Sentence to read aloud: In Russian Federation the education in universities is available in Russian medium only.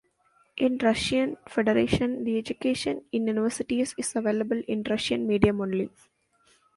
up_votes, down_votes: 2, 0